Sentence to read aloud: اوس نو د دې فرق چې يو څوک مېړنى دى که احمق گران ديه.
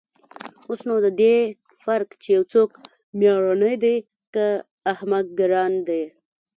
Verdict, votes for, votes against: rejected, 0, 2